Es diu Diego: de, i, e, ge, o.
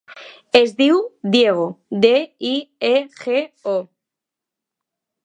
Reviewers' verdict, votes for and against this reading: rejected, 0, 2